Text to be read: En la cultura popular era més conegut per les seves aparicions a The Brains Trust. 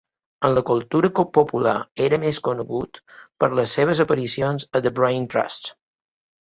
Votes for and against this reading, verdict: 1, 2, rejected